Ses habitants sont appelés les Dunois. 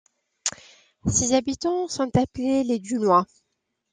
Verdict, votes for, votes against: accepted, 2, 1